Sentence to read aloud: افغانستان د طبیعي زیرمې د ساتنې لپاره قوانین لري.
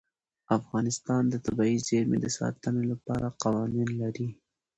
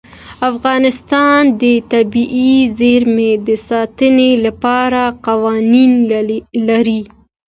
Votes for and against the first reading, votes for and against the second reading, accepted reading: 2, 1, 1, 2, first